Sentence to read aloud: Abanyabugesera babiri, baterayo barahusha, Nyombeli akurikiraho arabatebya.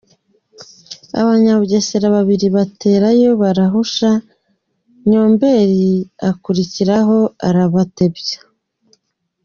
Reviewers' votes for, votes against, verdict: 2, 0, accepted